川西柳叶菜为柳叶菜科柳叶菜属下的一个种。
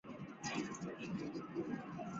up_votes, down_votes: 1, 2